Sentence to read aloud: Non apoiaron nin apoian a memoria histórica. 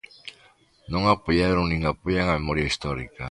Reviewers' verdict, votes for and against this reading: accepted, 2, 0